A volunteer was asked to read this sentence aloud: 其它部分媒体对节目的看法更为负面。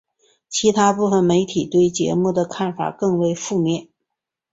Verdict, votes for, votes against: accepted, 2, 0